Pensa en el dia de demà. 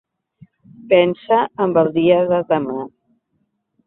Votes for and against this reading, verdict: 1, 2, rejected